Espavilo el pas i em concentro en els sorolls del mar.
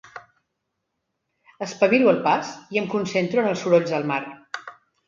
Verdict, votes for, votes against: accepted, 3, 0